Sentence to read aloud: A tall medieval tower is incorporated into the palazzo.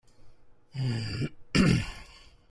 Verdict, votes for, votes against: rejected, 0, 2